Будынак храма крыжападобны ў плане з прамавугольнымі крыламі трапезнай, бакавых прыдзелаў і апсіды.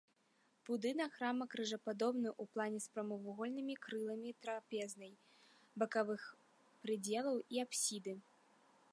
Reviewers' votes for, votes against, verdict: 0, 2, rejected